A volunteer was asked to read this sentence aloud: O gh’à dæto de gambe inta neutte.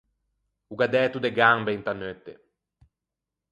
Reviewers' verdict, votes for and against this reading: accepted, 4, 0